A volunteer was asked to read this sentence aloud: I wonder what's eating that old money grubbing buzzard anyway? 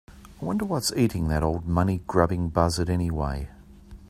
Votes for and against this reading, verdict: 2, 0, accepted